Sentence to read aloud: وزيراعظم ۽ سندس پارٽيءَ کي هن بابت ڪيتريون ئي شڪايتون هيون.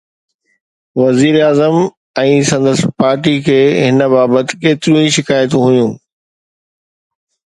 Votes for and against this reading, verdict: 2, 0, accepted